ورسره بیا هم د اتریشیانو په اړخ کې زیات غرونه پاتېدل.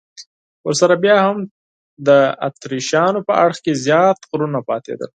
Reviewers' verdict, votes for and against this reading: accepted, 4, 0